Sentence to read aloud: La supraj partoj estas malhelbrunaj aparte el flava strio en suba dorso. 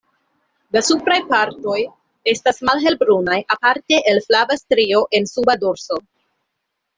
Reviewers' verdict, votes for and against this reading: accepted, 2, 0